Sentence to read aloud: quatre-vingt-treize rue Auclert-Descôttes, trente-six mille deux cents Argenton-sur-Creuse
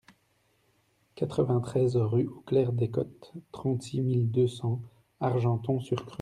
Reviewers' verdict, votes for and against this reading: rejected, 1, 2